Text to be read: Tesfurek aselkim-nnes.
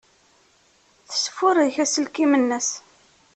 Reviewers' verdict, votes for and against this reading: accepted, 2, 0